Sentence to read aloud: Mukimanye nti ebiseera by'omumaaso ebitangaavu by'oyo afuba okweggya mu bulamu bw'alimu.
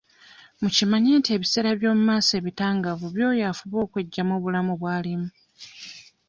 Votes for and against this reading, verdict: 2, 0, accepted